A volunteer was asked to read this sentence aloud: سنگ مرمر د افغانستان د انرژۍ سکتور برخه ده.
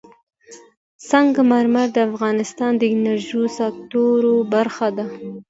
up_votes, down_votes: 1, 2